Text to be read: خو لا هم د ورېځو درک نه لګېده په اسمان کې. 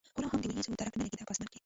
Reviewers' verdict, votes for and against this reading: rejected, 0, 2